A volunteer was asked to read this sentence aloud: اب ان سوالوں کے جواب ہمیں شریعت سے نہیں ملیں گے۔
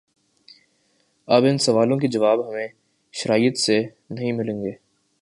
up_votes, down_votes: 2, 3